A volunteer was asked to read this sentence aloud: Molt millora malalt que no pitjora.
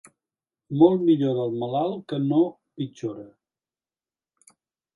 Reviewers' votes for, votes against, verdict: 0, 2, rejected